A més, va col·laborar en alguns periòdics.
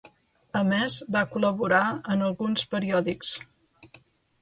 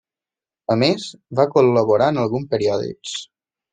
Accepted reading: first